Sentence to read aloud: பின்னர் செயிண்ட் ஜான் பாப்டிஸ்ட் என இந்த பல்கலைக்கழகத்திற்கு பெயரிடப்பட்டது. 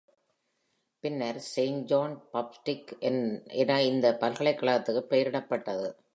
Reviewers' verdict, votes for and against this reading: rejected, 1, 2